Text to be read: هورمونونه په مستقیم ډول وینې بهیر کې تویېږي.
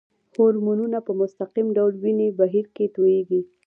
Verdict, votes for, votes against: rejected, 1, 2